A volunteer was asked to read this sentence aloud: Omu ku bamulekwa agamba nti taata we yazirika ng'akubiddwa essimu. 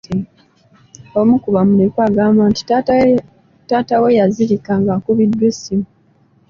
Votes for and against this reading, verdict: 1, 2, rejected